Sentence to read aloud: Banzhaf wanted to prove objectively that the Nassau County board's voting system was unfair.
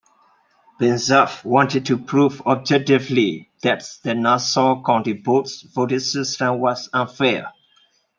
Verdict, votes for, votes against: accepted, 2, 1